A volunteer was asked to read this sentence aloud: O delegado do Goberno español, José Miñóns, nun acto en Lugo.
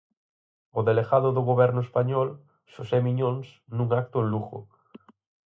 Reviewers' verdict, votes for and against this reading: accepted, 4, 2